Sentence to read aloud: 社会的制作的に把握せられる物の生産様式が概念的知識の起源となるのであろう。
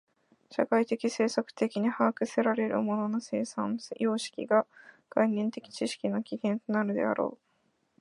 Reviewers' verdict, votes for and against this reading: accepted, 2, 1